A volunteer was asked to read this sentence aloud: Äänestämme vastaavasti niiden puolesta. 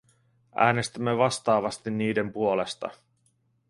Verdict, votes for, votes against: accepted, 2, 1